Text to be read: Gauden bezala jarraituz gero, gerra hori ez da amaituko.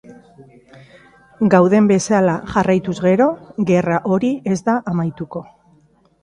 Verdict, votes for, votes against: accepted, 3, 0